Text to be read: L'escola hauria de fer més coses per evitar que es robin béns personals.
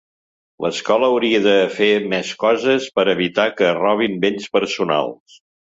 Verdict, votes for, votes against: accepted, 2, 0